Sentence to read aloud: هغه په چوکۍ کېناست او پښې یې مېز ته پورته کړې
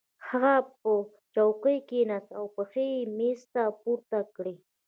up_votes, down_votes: 1, 2